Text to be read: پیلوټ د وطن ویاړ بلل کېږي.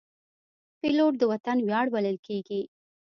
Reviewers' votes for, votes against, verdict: 2, 0, accepted